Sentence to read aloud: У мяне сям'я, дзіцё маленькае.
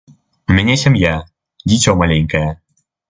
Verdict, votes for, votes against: accepted, 2, 0